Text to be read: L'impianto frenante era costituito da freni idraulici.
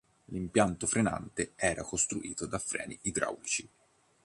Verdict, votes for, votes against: rejected, 1, 2